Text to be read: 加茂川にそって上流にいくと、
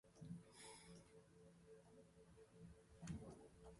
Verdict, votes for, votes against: rejected, 3, 4